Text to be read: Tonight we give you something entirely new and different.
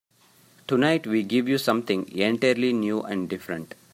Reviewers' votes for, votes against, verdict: 1, 2, rejected